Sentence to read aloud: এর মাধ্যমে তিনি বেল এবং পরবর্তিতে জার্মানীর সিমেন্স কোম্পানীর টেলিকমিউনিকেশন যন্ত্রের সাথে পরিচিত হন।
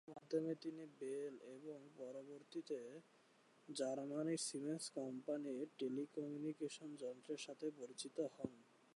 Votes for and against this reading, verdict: 1, 2, rejected